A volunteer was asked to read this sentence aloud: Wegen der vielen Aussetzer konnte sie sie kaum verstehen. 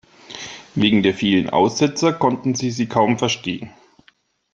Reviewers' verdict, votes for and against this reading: rejected, 1, 2